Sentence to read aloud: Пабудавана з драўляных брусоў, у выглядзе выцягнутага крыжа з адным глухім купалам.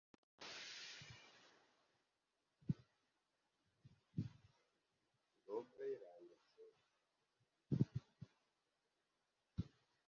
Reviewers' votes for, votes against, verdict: 0, 2, rejected